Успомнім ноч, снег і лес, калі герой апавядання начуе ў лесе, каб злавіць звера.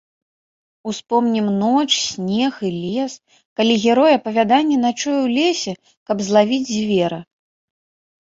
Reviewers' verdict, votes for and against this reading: accepted, 2, 0